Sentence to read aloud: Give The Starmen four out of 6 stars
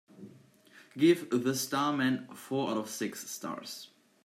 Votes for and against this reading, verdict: 0, 2, rejected